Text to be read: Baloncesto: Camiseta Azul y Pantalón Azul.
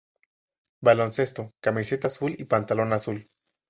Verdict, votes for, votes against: accepted, 2, 0